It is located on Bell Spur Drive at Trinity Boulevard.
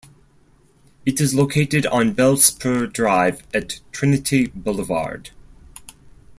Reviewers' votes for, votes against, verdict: 4, 0, accepted